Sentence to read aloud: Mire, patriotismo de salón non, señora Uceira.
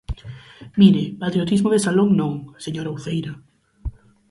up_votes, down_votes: 4, 0